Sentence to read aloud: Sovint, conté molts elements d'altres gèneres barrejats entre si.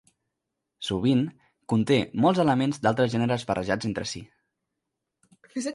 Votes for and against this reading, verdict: 0, 2, rejected